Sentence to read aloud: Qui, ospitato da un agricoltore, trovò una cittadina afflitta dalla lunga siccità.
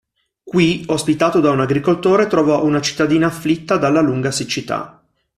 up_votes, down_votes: 2, 0